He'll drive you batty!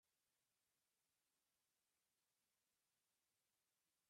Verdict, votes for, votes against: rejected, 0, 2